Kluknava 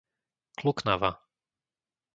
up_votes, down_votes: 2, 0